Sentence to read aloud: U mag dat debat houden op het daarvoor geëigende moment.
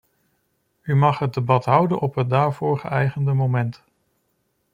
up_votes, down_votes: 0, 2